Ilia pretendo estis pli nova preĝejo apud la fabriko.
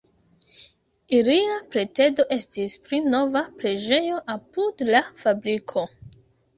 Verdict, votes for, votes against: rejected, 0, 2